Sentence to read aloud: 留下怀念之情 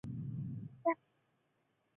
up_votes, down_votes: 0, 3